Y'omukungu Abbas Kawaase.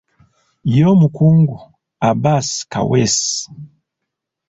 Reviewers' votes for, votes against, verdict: 1, 2, rejected